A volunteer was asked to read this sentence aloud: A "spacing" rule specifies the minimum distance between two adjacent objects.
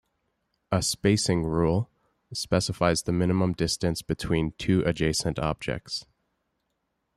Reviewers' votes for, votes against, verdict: 2, 0, accepted